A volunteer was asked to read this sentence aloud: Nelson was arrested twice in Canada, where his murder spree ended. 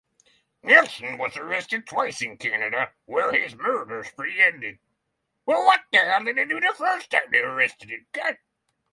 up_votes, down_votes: 0, 6